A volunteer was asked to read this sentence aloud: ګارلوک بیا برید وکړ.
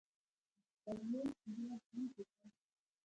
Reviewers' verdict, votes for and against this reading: rejected, 0, 2